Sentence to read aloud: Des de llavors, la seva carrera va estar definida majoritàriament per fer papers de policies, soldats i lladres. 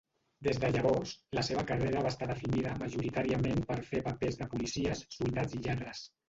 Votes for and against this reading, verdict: 1, 2, rejected